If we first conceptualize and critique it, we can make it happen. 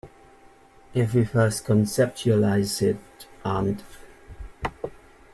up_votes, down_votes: 0, 2